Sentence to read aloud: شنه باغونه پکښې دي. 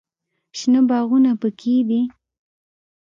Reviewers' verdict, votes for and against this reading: accepted, 3, 0